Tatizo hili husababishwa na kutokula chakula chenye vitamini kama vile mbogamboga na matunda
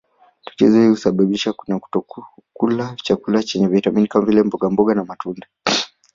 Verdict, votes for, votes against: rejected, 1, 2